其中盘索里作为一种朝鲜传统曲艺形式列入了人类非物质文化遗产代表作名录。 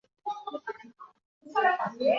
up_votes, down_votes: 1, 2